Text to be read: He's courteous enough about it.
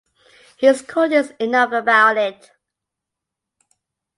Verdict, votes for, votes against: accepted, 2, 0